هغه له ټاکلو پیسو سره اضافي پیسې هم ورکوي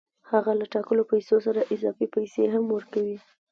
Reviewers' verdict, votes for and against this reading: accepted, 2, 0